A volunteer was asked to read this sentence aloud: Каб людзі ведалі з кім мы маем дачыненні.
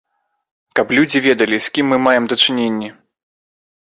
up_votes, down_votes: 2, 0